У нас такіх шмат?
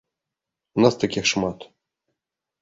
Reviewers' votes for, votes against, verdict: 3, 0, accepted